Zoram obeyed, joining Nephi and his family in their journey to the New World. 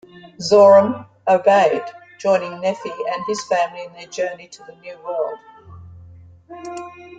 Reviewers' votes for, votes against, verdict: 2, 0, accepted